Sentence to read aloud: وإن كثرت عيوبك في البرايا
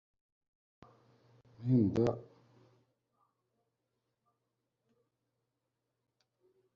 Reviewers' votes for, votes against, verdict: 0, 2, rejected